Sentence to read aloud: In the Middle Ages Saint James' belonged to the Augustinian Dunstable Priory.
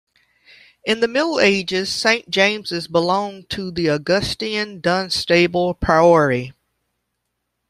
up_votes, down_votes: 0, 2